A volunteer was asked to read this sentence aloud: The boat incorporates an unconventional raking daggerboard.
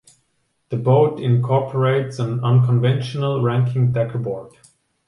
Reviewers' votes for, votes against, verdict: 2, 3, rejected